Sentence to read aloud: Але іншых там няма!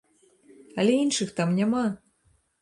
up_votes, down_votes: 2, 0